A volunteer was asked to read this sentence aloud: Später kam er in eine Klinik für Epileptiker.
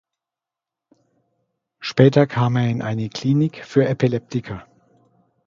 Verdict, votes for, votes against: accepted, 2, 0